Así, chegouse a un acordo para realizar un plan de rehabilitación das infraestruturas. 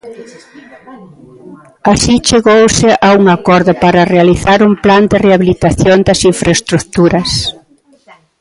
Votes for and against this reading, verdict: 1, 2, rejected